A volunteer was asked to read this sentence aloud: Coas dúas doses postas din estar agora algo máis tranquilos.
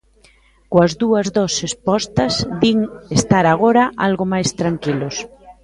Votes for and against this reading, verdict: 0, 2, rejected